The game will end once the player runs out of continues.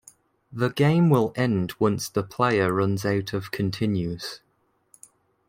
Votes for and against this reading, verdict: 2, 0, accepted